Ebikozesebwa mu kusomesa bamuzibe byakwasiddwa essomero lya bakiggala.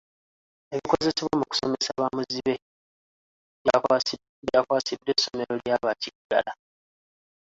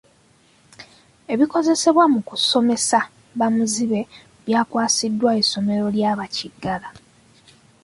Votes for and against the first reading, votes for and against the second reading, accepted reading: 1, 2, 2, 0, second